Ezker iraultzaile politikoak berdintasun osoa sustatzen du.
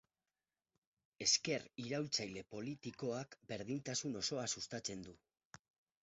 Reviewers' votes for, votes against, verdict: 4, 2, accepted